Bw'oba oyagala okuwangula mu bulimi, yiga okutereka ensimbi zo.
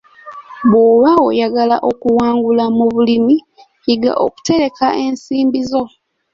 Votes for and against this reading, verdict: 2, 0, accepted